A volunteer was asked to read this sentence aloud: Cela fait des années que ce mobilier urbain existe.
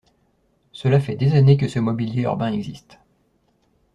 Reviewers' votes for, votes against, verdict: 2, 0, accepted